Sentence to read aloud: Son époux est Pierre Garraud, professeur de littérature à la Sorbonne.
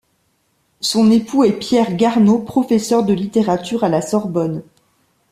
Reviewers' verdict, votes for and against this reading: rejected, 0, 2